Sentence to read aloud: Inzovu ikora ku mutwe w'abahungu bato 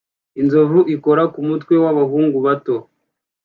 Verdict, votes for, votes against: accepted, 2, 0